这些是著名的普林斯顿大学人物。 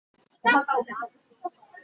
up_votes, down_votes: 0, 3